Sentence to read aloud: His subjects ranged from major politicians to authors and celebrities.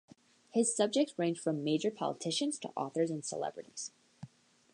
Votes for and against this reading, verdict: 2, 0, accepted